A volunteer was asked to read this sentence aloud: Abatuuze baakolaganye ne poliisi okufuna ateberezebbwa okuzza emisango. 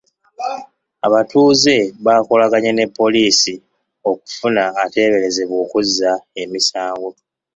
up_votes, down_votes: 0, 2